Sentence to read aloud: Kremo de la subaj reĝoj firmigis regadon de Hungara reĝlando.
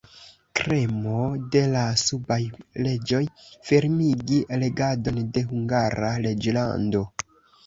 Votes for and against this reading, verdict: 0, 2, rejected